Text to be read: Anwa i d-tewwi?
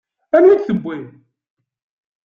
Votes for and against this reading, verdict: 2, 0, accepted